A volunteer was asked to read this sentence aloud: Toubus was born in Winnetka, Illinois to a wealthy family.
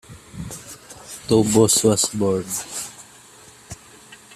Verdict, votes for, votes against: rejected, 0, 2